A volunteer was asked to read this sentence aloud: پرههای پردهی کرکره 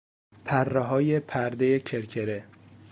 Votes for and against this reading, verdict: 2, 0, accepted